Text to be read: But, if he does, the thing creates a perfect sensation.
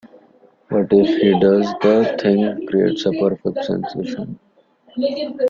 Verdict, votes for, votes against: rejected, 1, 2